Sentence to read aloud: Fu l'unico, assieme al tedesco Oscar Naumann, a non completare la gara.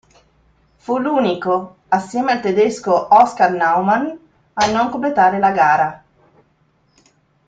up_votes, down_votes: 3, 0